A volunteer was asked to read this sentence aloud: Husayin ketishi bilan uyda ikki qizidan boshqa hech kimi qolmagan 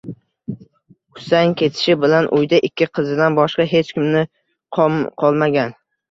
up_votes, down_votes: 0, 2